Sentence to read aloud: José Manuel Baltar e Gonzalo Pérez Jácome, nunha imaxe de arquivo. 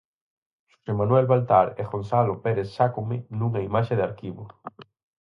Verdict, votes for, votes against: rejected, 0, 4